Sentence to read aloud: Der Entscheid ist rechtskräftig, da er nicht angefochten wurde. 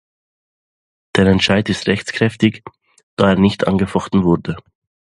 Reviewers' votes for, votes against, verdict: 2, 0, accepted